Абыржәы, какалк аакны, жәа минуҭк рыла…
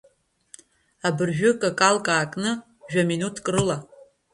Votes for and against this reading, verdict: 1, 2, rejected